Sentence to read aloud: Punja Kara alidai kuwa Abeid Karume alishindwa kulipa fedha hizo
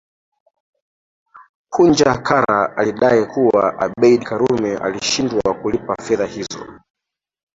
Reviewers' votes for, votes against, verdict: 0, 3, rejected